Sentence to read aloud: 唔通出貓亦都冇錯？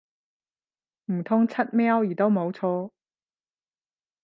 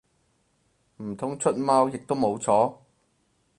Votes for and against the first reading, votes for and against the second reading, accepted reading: 0, 10, 4, 0, second